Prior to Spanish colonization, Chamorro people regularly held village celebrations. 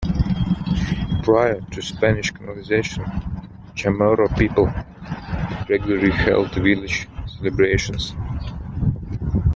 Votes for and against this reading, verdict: 1, 2, rejected